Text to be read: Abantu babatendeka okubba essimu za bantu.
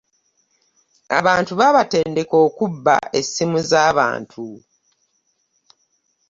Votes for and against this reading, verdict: 2, 1, accepted